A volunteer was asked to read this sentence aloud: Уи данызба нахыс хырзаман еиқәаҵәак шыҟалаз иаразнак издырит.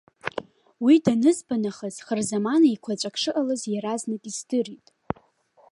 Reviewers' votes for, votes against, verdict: 2, 0, accepted